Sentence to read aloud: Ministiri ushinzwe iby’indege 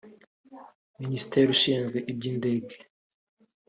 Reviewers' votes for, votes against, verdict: 2, 3, rejected